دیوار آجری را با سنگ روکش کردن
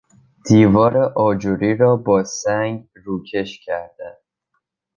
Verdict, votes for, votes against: accepted, 2, 1